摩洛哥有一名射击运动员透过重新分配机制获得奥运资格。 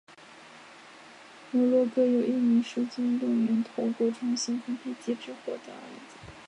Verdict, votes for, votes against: rejected, 1, 3